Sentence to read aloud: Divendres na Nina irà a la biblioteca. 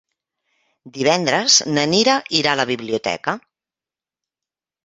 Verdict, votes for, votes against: rejected, 1, 2